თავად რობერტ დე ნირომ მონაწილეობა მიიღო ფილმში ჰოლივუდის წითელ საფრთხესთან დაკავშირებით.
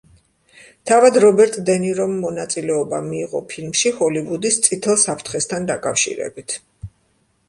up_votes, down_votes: 3, 0